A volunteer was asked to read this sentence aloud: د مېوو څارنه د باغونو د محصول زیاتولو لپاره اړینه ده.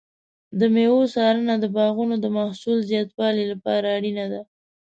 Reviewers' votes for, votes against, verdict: 2, 1, accepted